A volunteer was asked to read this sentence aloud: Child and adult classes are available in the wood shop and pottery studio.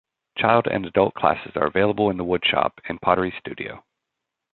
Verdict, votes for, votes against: accepted, 2, 0